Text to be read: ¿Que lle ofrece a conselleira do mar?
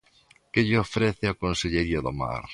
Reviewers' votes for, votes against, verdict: 0, 2, rejected